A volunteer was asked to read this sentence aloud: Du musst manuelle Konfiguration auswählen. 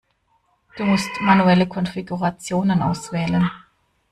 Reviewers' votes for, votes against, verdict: 1, 2, rejected